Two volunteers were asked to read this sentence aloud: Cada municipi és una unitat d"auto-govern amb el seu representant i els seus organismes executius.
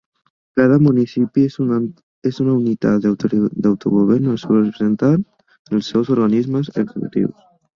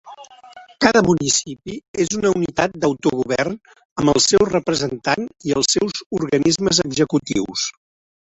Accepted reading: second